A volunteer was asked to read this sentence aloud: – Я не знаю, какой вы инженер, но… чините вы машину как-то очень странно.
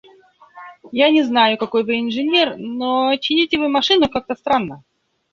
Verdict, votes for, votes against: rejected, 1, 2